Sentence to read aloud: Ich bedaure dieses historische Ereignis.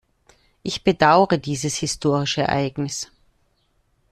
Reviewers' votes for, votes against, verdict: 2, 0, accepted